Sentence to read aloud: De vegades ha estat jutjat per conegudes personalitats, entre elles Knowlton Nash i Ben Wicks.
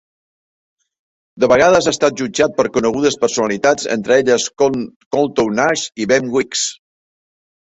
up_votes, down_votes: 1, 2